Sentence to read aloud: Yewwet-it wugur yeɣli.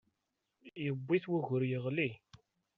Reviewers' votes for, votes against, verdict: 1, 2, rejected